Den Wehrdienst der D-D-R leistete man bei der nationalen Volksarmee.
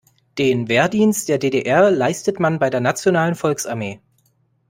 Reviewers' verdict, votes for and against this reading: rejected, 1, 2